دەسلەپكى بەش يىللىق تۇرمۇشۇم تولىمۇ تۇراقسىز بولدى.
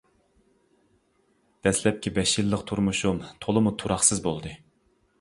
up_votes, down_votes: 2, 0